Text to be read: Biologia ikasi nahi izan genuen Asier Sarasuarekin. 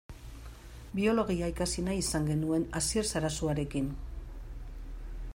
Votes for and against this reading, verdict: 2, 1, accepted